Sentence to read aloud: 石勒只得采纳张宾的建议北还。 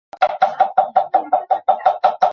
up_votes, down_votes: 0, 2